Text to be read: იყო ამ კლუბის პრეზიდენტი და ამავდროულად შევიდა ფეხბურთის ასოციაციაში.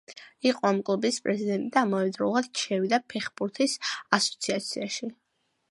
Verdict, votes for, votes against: accepted, 2, 0